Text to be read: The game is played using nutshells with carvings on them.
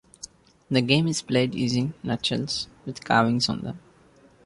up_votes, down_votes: 2, 0